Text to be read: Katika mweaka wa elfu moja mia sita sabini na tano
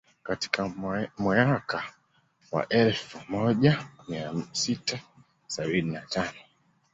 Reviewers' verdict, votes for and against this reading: accepted, 2, 0